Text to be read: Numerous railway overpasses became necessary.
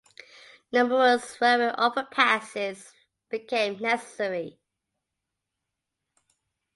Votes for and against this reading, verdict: 2, 1, accepted